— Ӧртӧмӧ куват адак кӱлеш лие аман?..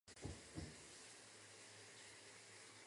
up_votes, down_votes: 1, 2